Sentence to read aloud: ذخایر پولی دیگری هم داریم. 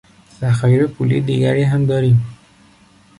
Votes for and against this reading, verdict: 2, 0, accepted